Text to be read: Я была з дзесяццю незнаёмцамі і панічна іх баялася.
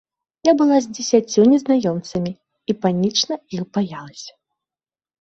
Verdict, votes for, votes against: accepted, 2, 0